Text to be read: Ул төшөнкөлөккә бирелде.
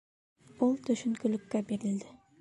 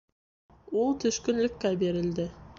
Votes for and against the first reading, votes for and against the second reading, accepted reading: 2, 0, 0, 2, first